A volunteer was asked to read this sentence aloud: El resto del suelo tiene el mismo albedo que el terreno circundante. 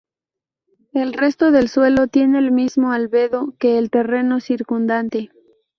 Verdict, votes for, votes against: rejected, 0, 2